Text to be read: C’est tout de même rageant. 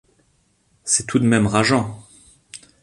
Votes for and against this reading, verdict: 3, 0, accepted